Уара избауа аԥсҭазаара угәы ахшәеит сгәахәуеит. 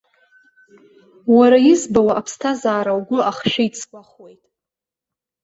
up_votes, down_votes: 2, 0